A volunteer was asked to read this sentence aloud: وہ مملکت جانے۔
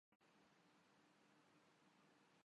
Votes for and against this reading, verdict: 0, 2, rejected